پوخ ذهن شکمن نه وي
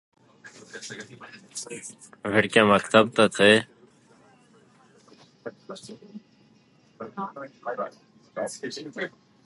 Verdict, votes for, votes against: rejected, 0, 2